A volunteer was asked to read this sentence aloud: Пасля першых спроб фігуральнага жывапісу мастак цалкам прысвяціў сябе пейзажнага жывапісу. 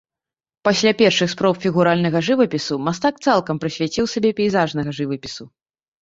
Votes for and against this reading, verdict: 2, 0, accepted